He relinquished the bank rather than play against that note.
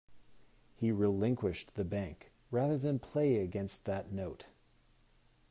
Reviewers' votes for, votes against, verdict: 2, 0, accepted